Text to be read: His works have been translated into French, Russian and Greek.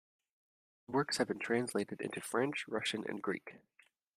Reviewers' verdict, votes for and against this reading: rejected, 0, 2